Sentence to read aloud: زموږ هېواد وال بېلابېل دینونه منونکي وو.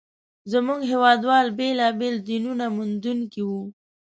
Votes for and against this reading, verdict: 1, 2, rejected